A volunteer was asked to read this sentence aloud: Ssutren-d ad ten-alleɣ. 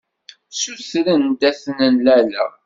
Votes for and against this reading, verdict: 1, 2, rejected